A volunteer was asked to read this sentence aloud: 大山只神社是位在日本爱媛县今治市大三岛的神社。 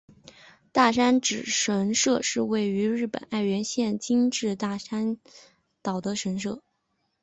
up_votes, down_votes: 3, 1